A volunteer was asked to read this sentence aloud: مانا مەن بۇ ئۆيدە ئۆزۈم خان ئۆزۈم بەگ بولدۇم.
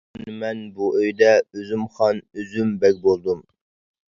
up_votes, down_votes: 0, 2